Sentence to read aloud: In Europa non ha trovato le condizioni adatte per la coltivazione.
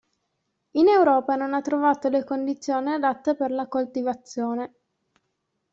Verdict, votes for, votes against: accepted, 2, 1